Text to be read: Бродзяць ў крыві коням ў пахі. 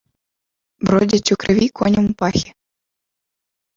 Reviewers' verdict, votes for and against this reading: rejected, 1, 2